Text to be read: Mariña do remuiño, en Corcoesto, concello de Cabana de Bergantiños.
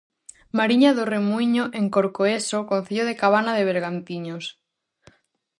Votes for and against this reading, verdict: 0, 4, rejected